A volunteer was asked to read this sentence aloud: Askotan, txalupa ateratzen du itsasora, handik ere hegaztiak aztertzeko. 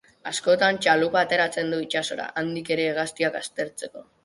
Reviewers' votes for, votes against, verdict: 2, 0, accepted